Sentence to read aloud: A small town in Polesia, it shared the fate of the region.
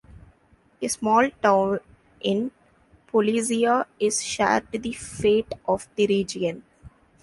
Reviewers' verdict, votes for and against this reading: rejected, 0, 2